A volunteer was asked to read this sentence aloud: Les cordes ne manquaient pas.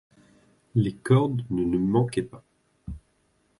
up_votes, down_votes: 1, 2